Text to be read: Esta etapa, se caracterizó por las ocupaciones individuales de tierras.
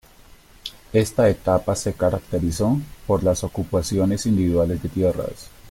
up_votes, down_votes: 1, 2